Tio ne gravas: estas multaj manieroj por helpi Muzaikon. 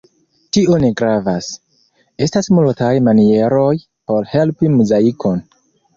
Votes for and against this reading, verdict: 2, 0, accepted